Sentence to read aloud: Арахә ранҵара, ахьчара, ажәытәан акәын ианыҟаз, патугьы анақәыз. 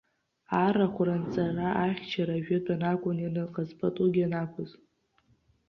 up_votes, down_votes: 2, 0